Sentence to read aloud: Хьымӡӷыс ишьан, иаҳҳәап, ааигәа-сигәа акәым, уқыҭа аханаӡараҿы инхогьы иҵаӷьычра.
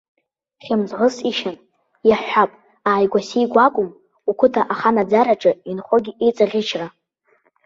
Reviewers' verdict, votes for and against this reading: accepted, 2, 0